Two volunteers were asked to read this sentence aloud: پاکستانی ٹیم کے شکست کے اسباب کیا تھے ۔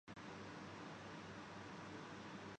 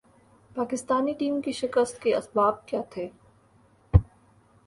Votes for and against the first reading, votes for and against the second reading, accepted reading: 1, 2, 2, 0, second